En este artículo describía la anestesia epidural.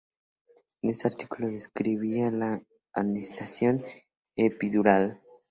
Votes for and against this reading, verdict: 0, 2, rejected